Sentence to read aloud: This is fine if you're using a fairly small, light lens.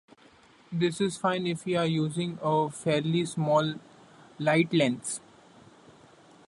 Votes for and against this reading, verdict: 2, 0, accepted